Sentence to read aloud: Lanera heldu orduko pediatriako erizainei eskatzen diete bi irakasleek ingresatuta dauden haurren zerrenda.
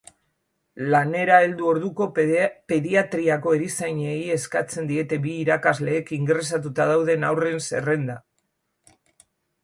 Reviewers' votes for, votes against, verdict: 0, 2, rejected